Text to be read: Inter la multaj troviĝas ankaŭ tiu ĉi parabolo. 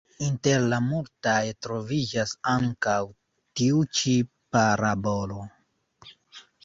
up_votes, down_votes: 2, 1